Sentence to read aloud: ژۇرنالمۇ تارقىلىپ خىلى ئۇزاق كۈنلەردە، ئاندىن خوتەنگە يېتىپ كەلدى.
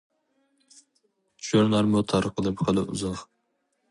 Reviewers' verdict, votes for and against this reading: rejected, 0, 2